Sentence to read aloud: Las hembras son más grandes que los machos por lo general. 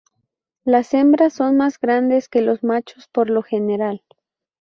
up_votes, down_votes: 2, 0